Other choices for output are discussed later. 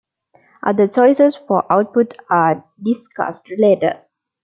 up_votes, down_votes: 2, 0